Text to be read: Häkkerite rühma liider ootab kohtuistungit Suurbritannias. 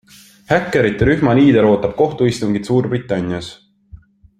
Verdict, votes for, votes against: accepted, 2, 0